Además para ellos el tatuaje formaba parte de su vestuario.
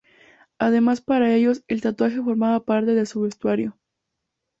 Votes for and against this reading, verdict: 2, 0, accepted